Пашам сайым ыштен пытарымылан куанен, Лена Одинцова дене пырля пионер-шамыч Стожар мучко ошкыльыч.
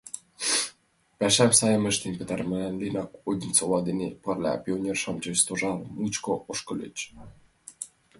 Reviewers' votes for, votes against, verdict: 0, 2, rejected